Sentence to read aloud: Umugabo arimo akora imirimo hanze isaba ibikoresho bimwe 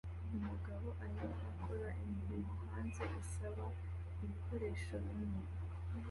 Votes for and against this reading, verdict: 0, 2, rejected